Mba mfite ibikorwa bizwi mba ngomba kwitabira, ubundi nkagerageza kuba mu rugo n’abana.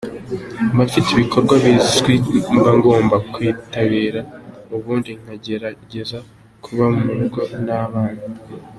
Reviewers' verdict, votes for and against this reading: accepted, 2, 0